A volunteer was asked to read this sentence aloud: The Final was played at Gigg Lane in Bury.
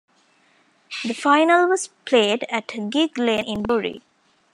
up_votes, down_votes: 1, 2